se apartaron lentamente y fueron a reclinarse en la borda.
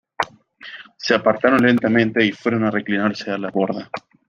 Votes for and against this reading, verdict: 2, 0, accepted